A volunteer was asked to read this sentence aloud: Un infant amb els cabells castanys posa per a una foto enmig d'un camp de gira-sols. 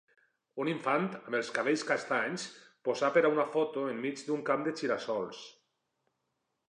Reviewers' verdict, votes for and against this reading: accepted, 2, 0